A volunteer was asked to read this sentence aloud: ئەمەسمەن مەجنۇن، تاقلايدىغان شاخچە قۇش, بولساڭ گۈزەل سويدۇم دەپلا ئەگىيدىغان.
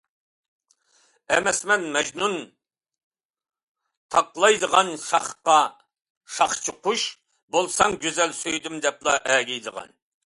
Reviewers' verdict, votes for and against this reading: rejected, 0, 2